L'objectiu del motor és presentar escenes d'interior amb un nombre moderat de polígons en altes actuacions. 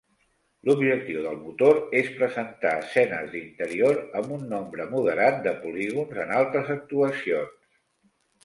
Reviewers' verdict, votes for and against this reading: accepted, 2, 1